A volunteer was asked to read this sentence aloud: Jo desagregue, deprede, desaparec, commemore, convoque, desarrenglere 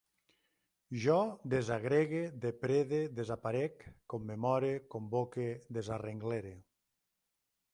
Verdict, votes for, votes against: accepted, 2, 0